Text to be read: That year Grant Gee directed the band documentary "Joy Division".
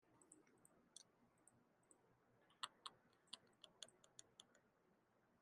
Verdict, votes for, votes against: rejected, 0, 2